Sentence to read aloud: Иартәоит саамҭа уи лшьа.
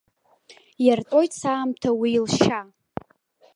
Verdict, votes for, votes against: accepted, 2, 0